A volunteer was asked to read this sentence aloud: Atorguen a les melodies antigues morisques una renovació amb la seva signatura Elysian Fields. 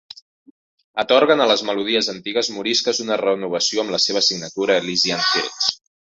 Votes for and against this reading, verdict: 1, 2, rejected